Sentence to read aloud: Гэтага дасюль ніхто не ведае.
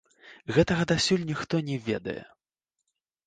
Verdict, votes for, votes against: rejected, 1, 2